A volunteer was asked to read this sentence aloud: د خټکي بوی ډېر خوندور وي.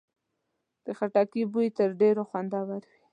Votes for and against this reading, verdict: 1, 2, rejected